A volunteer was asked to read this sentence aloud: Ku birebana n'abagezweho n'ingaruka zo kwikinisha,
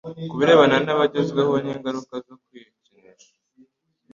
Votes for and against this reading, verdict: 2, 0, accepted